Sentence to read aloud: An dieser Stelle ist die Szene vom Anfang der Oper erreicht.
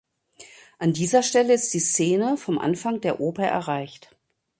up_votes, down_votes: 2, 0